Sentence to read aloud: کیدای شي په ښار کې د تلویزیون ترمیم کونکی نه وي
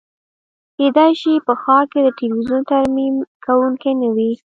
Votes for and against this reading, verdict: 2, 0, accepted